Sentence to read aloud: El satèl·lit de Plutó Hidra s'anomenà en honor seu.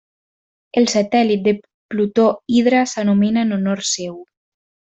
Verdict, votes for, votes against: rejected, 1, 2